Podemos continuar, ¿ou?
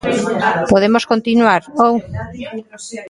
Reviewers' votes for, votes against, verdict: 0, 2, rejected